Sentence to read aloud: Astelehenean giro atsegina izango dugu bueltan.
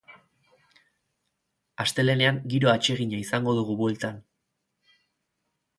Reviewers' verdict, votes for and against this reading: accepted, 4, 0